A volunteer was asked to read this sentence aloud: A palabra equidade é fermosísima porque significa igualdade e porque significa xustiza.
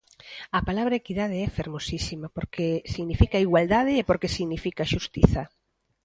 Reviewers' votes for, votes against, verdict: 2, 0, accepted